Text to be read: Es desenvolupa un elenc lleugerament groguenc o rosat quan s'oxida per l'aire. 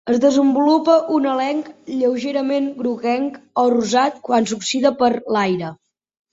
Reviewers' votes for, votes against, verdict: 3, 0, accepted